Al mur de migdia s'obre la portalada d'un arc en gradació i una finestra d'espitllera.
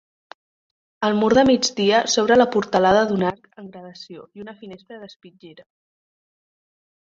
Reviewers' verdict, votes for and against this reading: rejected, 0, 2